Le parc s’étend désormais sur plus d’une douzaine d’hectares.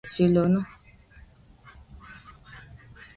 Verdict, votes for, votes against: rejected, 0, 2